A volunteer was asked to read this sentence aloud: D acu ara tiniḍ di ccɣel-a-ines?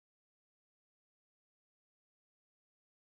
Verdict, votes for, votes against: rejected, 0, 2